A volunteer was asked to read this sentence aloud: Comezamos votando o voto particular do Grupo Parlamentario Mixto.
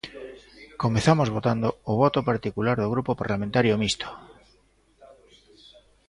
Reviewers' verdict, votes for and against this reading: accepted, 2, 1